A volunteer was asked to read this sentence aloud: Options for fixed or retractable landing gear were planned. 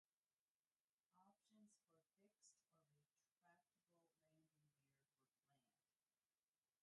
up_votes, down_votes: 0, 2